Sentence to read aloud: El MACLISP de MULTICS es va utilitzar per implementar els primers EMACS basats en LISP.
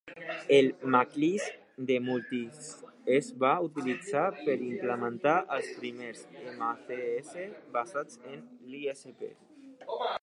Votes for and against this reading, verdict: 0, 2, rejected